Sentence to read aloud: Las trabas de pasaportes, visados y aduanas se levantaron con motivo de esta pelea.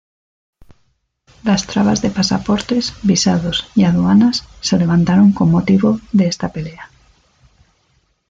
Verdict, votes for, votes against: rejected, 0, 2